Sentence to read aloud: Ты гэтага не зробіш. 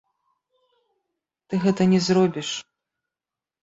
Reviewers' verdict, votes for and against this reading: rejected, 0, 2